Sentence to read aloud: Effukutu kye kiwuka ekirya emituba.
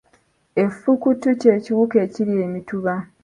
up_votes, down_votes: 2, 0